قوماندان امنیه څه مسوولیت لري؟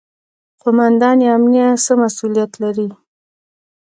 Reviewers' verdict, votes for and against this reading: rejected, 1, 2